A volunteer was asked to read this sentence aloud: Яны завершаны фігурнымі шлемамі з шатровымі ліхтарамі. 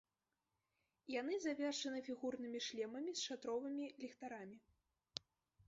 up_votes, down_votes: 1, 2